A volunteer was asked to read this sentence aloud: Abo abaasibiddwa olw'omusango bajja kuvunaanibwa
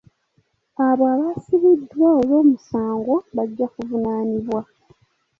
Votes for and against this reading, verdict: 3, 0, accepted